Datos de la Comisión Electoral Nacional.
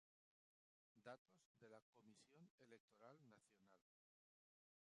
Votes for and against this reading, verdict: 0, 2, rejected